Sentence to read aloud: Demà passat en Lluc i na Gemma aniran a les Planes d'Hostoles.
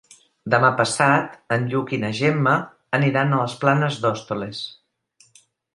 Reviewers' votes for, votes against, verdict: 1, 2, rejected